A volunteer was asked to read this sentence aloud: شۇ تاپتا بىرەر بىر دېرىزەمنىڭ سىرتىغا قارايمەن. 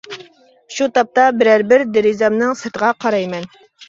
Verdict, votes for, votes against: accepted, 2, 0